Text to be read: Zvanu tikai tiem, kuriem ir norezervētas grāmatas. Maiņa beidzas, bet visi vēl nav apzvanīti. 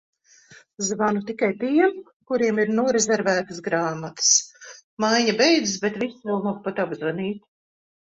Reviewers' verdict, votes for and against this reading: rejected, 1, 2